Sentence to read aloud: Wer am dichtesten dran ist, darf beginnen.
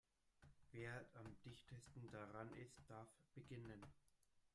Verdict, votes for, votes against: rejected, 0, 2